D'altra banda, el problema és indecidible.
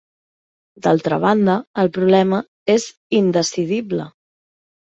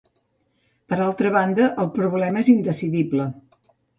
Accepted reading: first